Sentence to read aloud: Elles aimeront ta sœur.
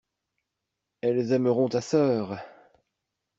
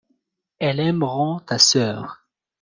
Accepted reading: first